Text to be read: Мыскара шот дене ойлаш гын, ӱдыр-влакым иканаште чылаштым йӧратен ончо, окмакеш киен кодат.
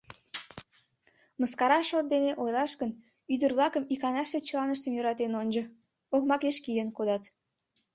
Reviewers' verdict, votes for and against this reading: rejected, 0, 2